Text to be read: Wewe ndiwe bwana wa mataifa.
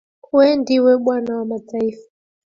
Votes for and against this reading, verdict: 2, 1, accepted